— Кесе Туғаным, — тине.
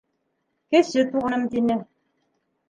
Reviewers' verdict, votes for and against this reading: rejected, 1, 2